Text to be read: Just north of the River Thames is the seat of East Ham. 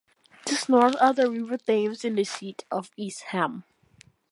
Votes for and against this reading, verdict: 1, 2, rejected